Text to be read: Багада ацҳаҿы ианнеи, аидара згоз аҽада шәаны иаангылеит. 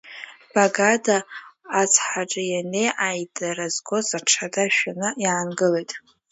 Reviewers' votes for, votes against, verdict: 2, 1, accepted